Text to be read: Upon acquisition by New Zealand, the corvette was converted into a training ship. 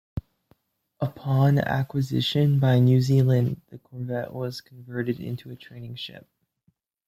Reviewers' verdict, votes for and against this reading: rejected, 1, 2